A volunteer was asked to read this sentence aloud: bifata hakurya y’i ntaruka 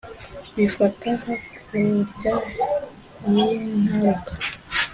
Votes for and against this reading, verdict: 2, 0, accepted